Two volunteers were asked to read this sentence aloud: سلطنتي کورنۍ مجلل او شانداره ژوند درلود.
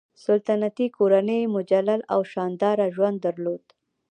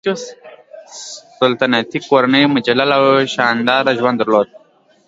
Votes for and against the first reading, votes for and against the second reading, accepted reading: 1, 2, 2, 0, second